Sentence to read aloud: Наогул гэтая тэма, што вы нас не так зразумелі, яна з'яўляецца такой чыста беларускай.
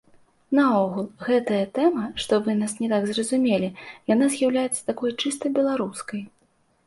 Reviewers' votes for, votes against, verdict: 2, 0, accepted